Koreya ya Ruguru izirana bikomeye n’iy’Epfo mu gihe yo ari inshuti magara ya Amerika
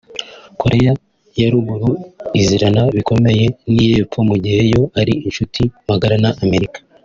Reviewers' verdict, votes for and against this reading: rejected, 1, 2